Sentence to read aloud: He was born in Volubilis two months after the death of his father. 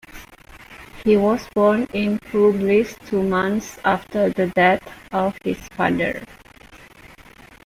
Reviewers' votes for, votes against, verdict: 2, 1, accepted